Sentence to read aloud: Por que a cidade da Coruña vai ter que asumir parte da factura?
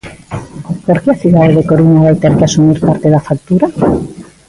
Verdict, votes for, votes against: accepted, 2, 0